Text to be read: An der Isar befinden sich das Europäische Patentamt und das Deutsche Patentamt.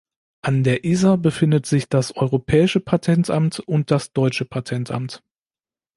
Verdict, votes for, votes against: accepted, 2, 1